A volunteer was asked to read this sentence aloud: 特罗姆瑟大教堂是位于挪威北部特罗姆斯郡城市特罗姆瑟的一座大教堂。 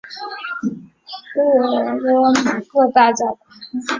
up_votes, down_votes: 0, 2